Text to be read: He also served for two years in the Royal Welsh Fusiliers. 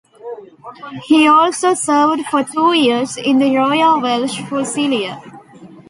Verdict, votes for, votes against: rejected, 0, 2